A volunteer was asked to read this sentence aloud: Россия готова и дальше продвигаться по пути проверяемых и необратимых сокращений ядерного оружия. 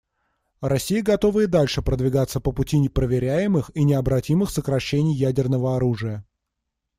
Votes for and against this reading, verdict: 1, 2, rejected